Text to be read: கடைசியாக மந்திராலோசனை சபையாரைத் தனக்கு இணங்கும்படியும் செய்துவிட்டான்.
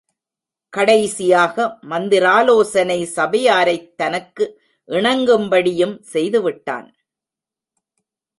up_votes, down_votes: 1, 2